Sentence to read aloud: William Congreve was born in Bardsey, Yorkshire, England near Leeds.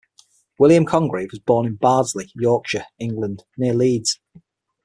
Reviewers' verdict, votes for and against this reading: accepted, 6, 0